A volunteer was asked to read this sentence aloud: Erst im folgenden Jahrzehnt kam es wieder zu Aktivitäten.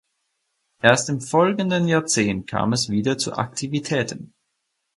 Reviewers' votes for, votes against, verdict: 6, 0, accepted